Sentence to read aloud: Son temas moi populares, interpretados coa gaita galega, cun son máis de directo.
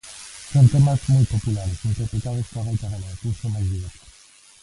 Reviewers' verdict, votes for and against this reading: rejected, 0, 2